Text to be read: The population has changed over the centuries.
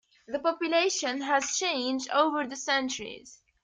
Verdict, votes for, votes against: accepted, 2, 0